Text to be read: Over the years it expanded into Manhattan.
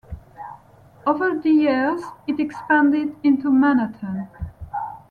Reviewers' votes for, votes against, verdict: 1, 2, rejected